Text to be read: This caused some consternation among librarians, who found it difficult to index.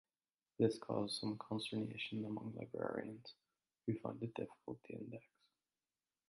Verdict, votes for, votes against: rejected, 0, 2